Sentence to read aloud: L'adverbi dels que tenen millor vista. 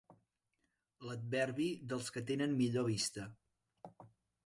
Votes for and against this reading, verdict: 5, 0, accepted